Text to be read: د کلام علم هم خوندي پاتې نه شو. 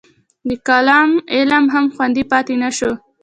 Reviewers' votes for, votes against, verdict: 2, 0, accepted